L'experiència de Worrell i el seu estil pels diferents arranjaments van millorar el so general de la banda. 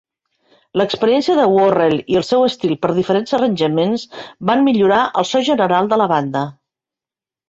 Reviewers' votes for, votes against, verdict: 2, 0, accepted